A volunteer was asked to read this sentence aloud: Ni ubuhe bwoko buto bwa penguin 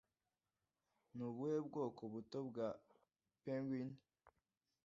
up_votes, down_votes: 2, 0